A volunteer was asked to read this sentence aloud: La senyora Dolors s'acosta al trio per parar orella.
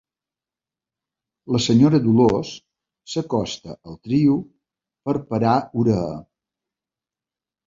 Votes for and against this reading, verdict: 0, 2, rejected